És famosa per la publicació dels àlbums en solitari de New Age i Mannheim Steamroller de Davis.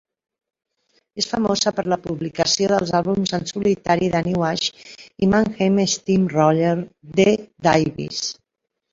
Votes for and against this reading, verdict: 0, 2, rejected